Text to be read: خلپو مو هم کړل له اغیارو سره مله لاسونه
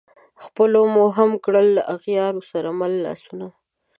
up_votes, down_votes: 2, 0